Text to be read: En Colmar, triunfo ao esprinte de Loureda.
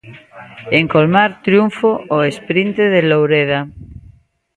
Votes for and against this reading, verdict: 2, 0, accepted